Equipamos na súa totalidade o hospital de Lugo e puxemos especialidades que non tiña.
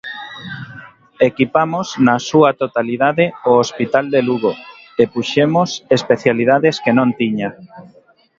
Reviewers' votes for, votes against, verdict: 2, 0, accepted